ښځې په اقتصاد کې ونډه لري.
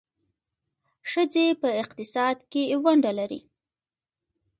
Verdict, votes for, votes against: accepted, 2, 0